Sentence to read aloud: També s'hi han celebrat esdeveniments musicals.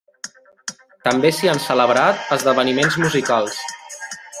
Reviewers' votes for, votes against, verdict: 1, 2, rejected